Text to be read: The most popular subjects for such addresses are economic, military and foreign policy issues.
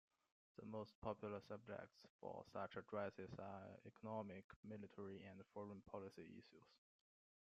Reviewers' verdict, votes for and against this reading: accepted, 2, 1